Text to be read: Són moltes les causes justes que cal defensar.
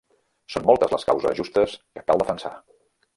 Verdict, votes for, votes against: rejected, 1, 2